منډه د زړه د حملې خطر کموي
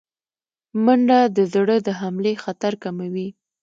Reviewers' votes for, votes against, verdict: 2, 0, accepted